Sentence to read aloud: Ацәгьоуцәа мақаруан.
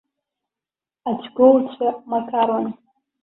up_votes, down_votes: 0, 2